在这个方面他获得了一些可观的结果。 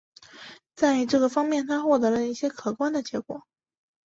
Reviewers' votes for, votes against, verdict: 3, 0, accepted